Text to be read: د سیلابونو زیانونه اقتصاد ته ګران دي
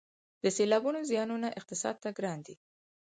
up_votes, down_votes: 4, 0